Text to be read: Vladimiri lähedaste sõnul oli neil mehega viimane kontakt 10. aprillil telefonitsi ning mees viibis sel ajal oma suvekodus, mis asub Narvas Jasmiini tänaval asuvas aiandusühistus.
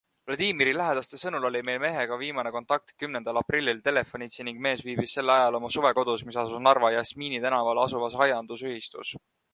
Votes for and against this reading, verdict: 0, 2, rejected